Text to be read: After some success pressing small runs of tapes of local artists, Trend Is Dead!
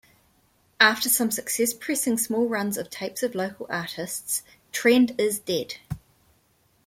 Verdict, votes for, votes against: accepted, 2, 1